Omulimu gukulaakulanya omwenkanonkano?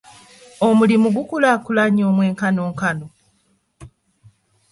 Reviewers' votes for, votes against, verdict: 1, 2, rejected